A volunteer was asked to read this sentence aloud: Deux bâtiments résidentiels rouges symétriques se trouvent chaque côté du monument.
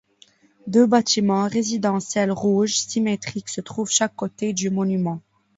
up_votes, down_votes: 2, 0